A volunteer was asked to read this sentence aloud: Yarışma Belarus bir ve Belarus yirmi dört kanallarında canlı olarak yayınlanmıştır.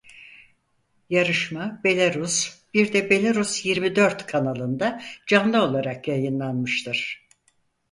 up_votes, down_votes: 2, 4